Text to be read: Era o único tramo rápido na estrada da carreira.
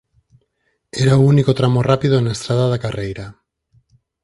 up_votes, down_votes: 4, 0